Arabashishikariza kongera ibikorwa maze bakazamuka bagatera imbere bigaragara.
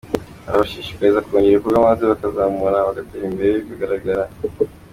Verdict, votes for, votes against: accepted, 2, 0